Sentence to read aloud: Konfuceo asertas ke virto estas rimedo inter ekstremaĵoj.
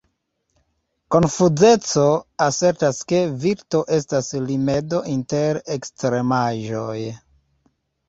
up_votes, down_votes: 2, 0